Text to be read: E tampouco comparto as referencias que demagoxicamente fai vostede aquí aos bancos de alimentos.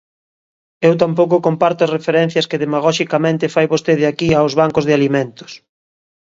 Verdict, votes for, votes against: rejected, 0, 2